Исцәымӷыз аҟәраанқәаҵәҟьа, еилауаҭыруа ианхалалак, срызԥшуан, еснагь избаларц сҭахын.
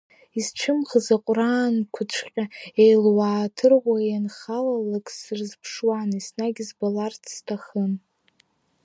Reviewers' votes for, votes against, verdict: 0, 2, rejected